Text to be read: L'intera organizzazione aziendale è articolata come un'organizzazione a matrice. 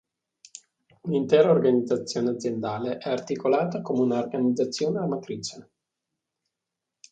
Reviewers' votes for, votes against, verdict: 2, 0, accepted